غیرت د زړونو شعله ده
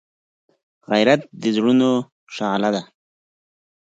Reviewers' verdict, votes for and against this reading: accepted, 4, 0